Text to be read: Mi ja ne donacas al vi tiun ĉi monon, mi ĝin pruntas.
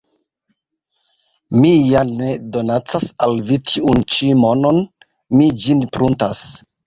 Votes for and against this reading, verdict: 2, 0, accepted